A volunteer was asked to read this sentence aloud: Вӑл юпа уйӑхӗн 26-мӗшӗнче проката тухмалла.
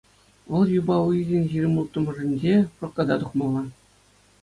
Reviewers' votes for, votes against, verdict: 0, 2, rejected